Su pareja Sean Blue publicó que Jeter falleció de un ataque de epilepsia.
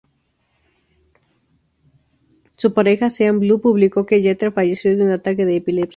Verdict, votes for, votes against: accepted, 2, 0